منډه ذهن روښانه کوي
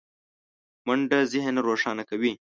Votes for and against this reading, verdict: 2, 0, accepted